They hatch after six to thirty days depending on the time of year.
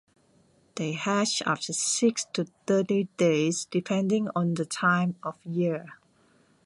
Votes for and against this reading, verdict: 2, 0, accepted